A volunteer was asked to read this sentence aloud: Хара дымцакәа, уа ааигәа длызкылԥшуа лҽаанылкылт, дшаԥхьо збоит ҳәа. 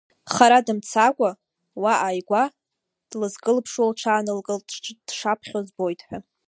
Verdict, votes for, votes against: rejected, 1, 2